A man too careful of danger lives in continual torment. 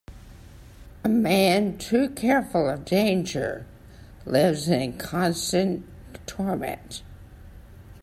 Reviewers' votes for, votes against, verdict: 0, 2, rejected